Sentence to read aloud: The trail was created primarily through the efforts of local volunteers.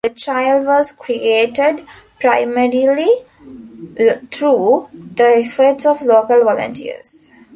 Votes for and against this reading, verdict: 0, 2, rejected